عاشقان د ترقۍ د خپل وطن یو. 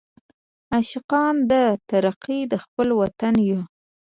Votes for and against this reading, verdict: 0, 2, rejected